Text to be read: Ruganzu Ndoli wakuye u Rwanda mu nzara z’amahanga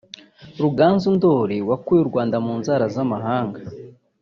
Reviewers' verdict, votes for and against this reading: rejected, 1, 2